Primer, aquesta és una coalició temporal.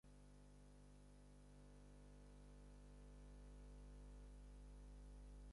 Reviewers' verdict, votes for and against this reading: accepted, 4, 0